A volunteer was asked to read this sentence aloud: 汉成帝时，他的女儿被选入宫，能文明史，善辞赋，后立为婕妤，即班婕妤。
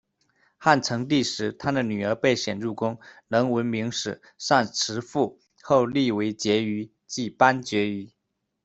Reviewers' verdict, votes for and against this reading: accepted, 2, 1